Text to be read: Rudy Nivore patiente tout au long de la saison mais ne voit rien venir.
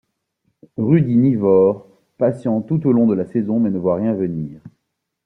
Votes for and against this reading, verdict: 2, 1, accepted